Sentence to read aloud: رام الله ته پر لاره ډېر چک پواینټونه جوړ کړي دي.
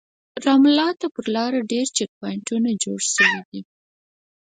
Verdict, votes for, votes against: rejected, 2, 4